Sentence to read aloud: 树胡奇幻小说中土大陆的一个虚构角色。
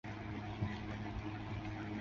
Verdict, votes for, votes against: rejected, 0, 3